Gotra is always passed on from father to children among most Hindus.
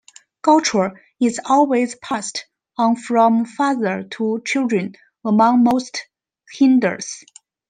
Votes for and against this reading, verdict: 3, 1, accepted